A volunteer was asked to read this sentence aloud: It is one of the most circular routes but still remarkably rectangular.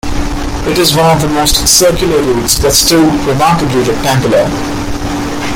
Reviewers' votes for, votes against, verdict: 1, 2, rejected